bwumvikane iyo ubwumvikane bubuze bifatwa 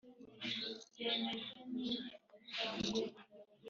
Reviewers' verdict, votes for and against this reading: rejected, 0, 2